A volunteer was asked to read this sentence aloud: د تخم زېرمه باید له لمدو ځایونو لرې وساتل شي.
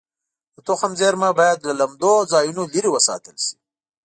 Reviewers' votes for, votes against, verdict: 2, 0, accepted